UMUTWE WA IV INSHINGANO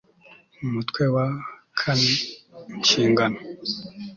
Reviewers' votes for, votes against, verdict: 2, 0, accepted